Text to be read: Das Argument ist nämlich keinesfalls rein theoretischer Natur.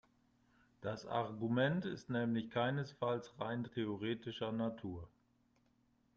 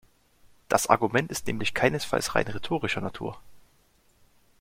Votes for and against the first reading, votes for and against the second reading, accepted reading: 2, 0, 0, 2, first